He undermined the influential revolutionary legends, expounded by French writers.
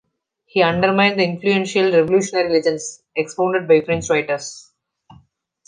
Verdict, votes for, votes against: accepted, 2, 0